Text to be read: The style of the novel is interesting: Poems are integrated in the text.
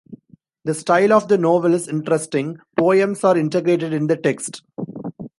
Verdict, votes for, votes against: accepted, 2, 0